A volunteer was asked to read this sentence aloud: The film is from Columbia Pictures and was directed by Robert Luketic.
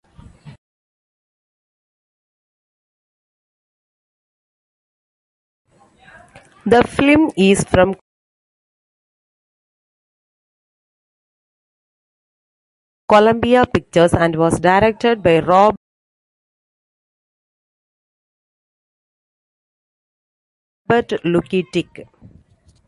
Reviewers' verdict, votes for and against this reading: rejected, 0, 2